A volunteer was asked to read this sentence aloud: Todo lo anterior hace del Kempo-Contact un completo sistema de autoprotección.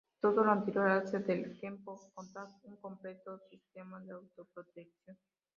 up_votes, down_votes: 0, 2